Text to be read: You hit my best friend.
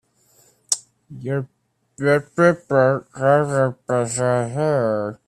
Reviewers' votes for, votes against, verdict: 0, 2, rejected